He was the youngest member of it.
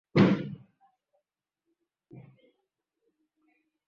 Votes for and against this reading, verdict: 1, 2, rejected